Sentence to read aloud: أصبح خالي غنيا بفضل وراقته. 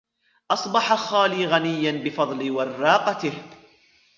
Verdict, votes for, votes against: accepted, 2, 0